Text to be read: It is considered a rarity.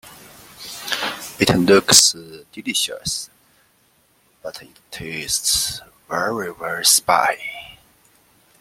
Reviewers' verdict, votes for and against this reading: rejected, 0, 2